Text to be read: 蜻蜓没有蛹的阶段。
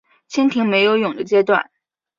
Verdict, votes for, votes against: accepted, 2, 0